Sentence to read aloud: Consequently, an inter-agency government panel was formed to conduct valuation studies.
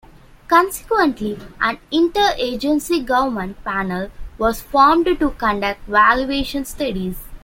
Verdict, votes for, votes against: accepted, 2, 1